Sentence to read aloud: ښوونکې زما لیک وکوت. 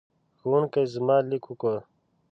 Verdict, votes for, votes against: rejected, 0, 2